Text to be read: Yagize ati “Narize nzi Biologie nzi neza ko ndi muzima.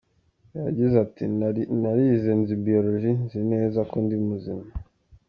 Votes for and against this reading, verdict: 1, 2, rejected